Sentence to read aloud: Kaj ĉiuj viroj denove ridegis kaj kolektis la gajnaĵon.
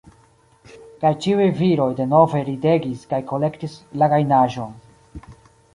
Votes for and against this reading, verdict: 1, 2, rejected